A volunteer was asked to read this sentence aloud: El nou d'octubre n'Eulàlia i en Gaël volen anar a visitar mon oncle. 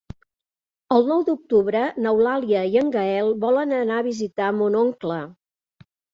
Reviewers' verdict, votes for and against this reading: accepted, 3, 0